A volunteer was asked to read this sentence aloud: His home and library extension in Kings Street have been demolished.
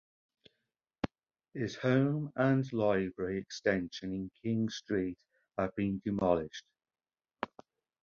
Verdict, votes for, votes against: rejected, 0, 2